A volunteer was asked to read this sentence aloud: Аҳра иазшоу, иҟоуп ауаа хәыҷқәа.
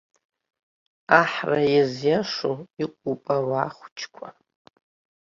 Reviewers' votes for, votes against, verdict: 1, 2, rejected